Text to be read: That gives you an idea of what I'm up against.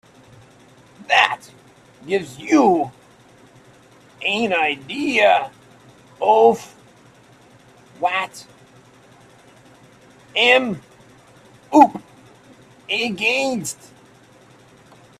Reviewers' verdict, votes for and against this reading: rejected, 0, 2